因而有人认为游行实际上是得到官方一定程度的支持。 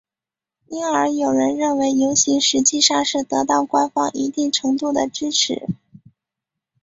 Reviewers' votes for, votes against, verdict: 6, 0, accepted